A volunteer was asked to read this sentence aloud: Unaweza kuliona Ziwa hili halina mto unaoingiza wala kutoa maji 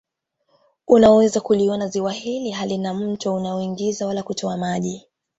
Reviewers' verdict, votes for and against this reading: rejected, 0, 2